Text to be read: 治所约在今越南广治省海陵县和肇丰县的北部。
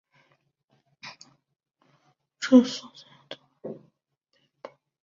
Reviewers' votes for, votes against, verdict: 1, 3, rejected